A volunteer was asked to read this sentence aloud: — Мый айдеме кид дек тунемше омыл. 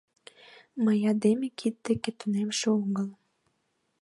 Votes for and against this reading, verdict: 2, 0, accepted